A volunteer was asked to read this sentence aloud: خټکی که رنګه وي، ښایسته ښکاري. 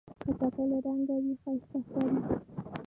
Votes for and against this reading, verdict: 0, 2, rejected